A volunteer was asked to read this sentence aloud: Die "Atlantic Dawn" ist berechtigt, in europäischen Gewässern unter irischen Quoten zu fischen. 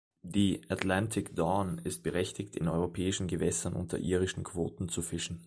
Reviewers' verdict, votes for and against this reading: accepted, 2, 0